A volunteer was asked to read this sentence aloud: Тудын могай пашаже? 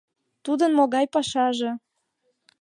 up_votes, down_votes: 2, 0